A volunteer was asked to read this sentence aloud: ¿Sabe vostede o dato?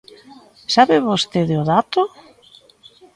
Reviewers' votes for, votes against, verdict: 2, 0, accepted